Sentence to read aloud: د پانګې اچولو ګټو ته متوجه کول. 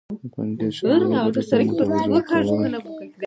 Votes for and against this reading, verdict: 0, 2, rejected